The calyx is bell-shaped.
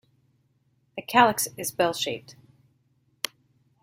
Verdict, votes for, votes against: accepted, 2, 0